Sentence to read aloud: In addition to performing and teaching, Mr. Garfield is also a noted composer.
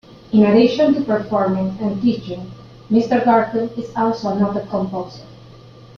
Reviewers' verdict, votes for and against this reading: accepted, 3, 0